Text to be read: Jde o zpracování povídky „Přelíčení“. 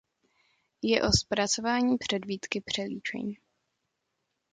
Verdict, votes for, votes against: rejected, 0, 2